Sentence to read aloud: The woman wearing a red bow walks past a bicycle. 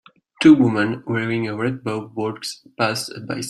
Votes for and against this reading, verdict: 0, 3, rejected